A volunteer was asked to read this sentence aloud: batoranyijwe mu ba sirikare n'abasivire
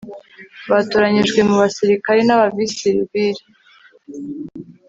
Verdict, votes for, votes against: accepted, 2, 1